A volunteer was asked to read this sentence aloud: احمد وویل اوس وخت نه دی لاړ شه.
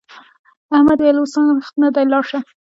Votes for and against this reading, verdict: 1, 2, rejected